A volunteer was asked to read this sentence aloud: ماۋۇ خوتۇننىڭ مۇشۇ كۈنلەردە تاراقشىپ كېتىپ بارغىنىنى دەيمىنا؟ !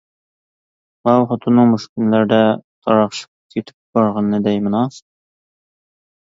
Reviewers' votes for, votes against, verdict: 2, 1, accepted